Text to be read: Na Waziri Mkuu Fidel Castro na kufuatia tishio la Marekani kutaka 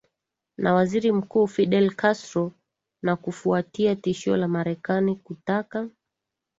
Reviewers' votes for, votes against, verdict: 2, 0, accepted